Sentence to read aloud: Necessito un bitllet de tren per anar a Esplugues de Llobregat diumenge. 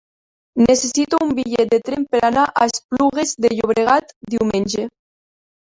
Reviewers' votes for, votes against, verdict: 2, 1, accepted